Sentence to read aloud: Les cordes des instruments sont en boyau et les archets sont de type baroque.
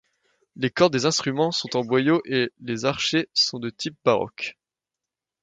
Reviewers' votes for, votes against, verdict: 2, 0, accepted